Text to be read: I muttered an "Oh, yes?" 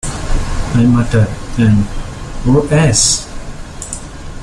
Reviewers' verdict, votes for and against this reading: rejected, 1, 2